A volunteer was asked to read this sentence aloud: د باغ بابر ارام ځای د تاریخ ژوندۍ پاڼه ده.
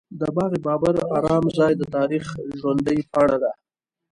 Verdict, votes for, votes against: accepted, 2, 1